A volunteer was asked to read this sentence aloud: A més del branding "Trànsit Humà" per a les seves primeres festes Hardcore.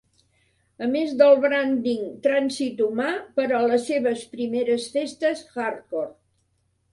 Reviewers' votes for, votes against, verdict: 3, 0, accepted